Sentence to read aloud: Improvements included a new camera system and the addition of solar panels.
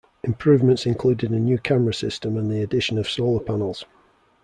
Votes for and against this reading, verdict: 2, 0, accepted